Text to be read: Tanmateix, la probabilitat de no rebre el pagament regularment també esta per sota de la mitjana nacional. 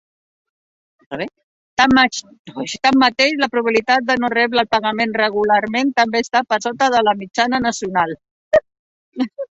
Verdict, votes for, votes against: rejected, 0, 3